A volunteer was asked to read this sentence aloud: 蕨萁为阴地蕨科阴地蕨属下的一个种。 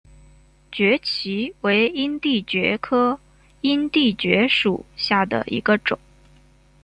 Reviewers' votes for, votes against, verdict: 2, 0, accepted